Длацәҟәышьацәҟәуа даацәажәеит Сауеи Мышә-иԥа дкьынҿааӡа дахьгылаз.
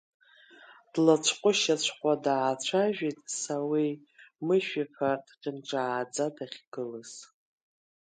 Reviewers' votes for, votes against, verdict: 2, 0, accepted